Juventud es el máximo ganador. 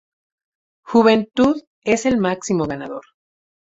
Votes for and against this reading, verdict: 4, 0, accepted